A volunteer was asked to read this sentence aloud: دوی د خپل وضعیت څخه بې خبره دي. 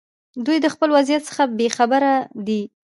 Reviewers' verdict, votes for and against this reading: rejected, 1, 2